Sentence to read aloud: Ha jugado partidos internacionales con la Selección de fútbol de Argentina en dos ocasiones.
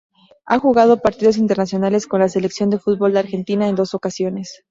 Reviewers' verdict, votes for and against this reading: accepted, 4, 0